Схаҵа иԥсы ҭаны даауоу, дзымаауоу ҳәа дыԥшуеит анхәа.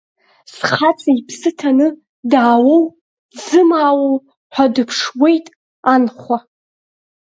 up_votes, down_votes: 3, 2